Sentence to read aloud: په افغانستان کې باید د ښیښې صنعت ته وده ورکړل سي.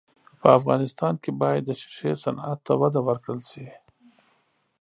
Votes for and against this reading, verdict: 2, 0, accepted